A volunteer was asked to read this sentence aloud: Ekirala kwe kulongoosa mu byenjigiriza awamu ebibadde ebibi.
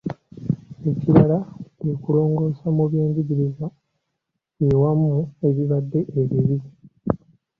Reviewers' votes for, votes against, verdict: 2, 0, accepted